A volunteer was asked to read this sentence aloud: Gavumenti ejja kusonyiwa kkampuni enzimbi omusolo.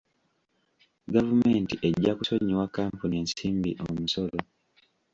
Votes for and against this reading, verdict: 1, 2, rejected